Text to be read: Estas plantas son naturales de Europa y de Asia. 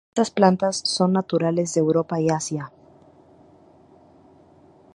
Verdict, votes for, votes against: accepted, 4, 0